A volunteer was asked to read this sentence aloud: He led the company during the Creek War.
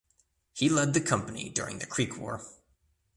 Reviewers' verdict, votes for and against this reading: accepted, 2, 0